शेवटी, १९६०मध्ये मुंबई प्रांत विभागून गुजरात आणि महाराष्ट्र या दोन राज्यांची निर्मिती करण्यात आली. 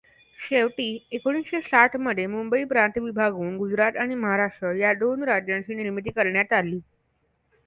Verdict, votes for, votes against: rejected, 0, 2